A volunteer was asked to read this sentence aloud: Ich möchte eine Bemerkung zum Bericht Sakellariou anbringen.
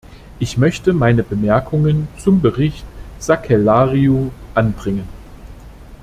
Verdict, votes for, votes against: rejected, 0, 2